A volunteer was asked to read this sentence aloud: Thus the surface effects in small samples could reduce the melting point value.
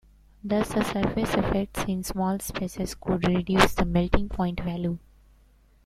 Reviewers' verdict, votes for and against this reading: rejected, 0, 2